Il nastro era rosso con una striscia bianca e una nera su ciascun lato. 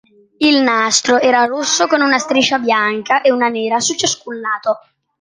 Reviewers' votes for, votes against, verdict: 2, 0, accepted